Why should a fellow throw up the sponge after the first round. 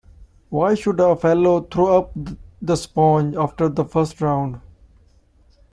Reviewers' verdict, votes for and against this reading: rejected, 0, 2